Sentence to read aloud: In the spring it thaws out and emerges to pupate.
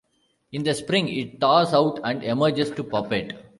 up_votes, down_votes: 0, 2